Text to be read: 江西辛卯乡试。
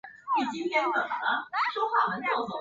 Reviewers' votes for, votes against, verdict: 0, 7, rejected